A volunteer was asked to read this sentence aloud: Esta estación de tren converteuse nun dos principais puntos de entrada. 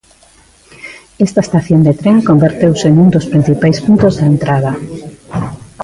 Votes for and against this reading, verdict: 2, 1, accepted